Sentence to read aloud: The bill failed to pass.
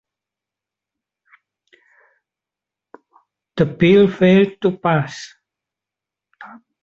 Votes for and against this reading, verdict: 2, 0, accepted